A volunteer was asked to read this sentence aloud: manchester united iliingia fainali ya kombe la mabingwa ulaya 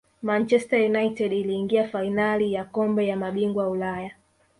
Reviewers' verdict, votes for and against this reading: accepted, 3, 0